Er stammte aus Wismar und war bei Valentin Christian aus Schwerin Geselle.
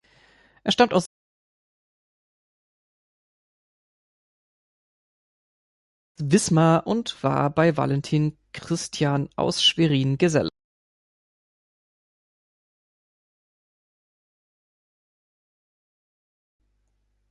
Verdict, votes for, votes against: rejected, 0, 2